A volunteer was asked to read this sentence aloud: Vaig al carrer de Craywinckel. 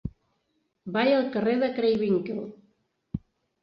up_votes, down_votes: 1, 2